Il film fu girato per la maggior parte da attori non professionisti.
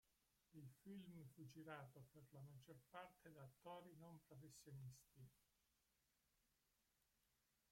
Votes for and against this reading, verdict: 0, 2, rejected